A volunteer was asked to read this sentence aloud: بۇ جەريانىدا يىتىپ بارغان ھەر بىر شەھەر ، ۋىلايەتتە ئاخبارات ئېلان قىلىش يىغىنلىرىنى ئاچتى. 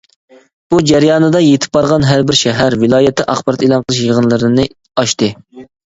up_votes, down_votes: 2, 0